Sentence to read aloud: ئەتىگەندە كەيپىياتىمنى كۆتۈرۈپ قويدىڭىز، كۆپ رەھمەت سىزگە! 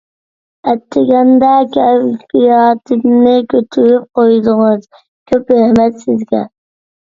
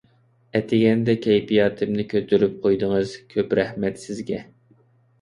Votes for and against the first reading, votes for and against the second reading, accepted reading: 1, 2, 2, 0, second